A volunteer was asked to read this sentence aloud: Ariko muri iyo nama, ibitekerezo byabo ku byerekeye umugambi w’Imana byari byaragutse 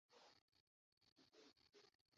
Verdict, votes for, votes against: rejected, 0, 2